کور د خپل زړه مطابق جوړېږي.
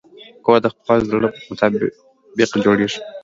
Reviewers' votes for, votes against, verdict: 3, 0, accepted